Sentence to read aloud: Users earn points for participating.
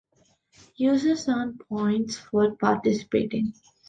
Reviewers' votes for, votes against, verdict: 2, 0, accepted